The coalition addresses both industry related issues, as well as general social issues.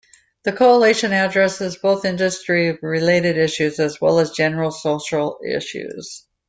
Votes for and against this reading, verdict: 2, 0, accepted